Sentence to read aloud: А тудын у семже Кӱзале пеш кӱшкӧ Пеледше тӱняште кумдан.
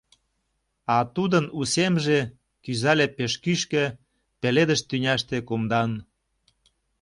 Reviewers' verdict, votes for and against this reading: rejected, 0, 2